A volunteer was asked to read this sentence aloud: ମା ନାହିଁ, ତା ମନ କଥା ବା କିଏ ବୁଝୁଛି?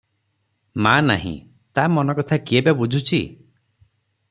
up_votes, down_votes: 3, 3